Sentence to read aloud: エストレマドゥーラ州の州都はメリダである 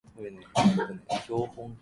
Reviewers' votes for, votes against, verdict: 0, 2, rejected